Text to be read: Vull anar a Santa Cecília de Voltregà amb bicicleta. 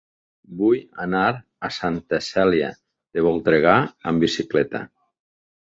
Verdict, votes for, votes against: rejected, 0, 2